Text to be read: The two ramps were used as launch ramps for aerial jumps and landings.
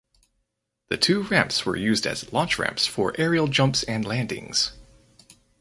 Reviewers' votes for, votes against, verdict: 4, 0, accepted